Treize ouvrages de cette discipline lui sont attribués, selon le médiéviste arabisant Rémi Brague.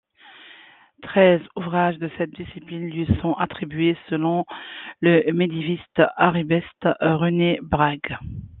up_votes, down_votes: 2, 1